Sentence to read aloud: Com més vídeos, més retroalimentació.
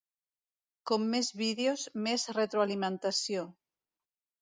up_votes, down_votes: 2, 0